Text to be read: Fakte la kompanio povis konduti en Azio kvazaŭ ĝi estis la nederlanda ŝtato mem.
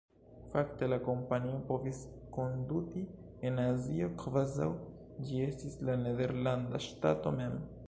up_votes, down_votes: 1, 2